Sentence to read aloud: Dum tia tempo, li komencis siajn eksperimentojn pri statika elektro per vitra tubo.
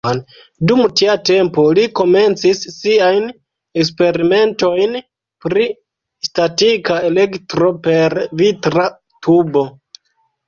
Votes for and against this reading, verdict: 0, 2, rejected